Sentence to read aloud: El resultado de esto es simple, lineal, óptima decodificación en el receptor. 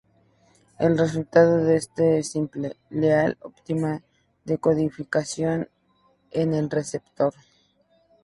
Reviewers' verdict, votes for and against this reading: rejected, 0, 2